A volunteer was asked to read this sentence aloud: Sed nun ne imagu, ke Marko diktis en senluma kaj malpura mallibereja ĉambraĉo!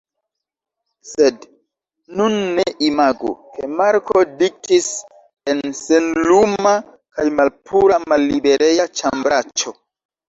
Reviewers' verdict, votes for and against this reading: rejected, 1, 2